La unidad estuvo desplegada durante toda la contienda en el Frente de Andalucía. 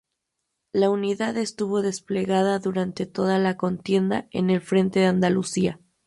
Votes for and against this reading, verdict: 0, 2, rejected